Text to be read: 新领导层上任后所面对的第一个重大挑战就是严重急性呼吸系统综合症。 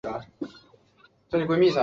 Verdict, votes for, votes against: rejected, 0, 2